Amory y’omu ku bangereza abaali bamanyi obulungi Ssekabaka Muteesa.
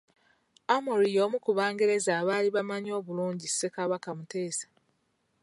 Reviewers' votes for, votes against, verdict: 1, 2, rejected